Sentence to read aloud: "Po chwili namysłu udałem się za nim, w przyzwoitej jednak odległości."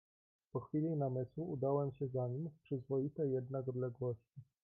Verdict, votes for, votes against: rejected, 0, 2